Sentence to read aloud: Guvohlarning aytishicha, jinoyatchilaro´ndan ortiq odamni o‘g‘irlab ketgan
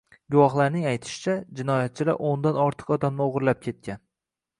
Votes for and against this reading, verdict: 1, 2, rejected